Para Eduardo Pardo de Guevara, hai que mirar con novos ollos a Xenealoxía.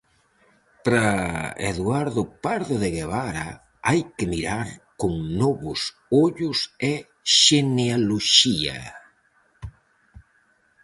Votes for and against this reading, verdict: 0, 4, rejected